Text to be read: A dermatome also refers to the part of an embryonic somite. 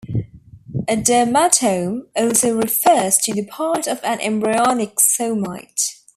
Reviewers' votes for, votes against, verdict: 2, 0, accepted